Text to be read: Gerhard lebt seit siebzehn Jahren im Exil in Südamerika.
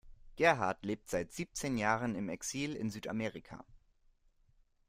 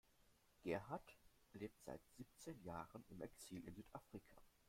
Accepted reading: first